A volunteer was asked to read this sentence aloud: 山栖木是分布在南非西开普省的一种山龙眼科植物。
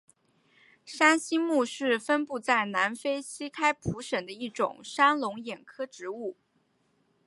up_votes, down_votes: 4, 0